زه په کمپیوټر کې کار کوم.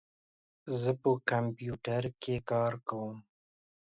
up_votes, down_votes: 2, 0